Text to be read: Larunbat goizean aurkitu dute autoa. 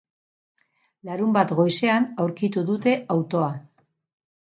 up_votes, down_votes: 0, 2